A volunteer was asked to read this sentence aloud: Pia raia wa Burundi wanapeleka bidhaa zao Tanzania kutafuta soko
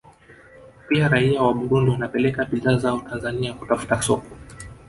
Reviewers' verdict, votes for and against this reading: accepted, 2, 0